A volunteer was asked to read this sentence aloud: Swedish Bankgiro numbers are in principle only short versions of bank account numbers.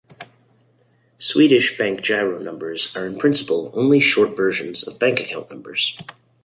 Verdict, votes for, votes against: accepted, 2, 0